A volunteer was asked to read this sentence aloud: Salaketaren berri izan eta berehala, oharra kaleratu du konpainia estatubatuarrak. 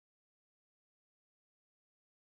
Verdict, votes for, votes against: rejected, 0, 3